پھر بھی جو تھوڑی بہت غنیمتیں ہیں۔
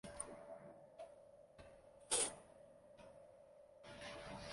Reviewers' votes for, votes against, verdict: 0, 2, rejected